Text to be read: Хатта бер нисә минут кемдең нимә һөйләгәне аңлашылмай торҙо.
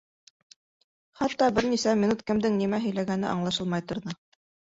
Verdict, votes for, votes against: accepted, 2, 1